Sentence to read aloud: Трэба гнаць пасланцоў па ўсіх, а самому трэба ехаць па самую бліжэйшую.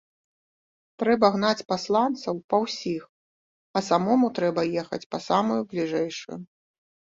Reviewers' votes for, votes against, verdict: 0, 2, rejected